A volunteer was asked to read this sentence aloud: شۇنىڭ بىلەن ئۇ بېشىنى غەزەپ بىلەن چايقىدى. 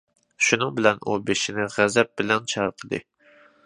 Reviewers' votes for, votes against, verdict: 2, 0, accepted